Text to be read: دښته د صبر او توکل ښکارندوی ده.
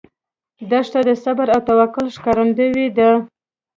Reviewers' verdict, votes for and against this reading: accepted, 2, 0